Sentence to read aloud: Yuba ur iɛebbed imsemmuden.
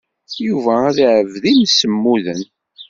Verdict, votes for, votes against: accepted, 2, 1